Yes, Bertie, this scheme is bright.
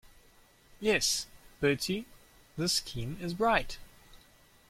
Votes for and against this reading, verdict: 2, 0, accepted